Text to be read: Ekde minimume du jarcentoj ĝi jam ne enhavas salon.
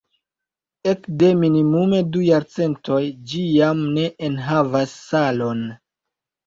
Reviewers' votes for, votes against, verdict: 1, 2, rejected